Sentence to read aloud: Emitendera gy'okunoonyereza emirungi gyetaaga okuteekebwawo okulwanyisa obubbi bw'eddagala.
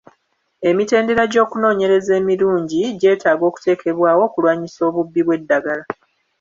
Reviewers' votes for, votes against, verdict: 1, 2, rejected